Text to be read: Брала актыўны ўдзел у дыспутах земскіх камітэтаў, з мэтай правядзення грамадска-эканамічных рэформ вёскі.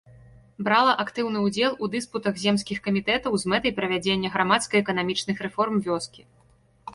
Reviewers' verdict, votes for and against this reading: accepted, 3, 0